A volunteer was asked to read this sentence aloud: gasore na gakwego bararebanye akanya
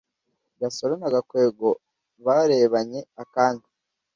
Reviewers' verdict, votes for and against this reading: rejected, 1, 2